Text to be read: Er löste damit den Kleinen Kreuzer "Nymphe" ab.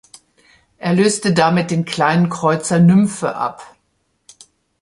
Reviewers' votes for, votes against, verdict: 2, 0, accepted